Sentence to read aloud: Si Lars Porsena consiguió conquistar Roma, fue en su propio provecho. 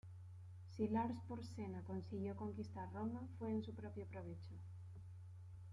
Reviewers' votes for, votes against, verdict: 2, 0, accepted